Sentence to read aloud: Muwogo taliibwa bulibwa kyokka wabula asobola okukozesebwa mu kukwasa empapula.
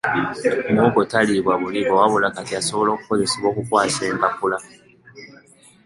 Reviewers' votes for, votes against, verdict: 1, 2, rejected